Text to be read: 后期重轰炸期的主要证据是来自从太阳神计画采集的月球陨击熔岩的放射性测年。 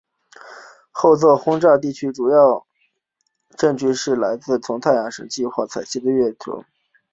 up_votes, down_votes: 1, 4